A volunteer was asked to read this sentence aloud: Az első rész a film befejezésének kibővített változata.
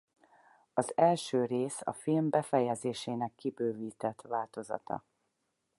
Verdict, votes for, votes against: accepted, 4, 0